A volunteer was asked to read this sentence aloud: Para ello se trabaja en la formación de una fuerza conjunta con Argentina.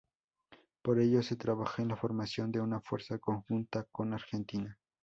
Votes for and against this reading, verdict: 2, 2, rejected